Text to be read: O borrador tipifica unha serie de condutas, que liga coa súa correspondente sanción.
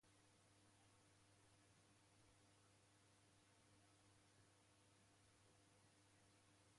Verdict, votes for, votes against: rejected, 0, 2